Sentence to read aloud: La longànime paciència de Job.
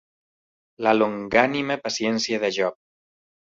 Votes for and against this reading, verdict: 2, 0, accepted